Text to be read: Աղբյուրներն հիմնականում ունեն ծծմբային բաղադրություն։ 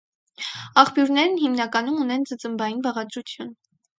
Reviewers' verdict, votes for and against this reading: accepted, 4, 0